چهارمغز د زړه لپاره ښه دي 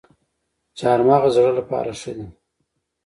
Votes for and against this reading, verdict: 2, 0, accepted